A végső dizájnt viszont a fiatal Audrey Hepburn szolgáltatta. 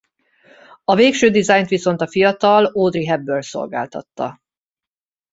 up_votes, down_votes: 0, 2